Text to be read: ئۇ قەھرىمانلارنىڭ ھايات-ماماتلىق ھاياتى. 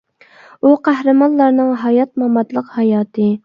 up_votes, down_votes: 2, 0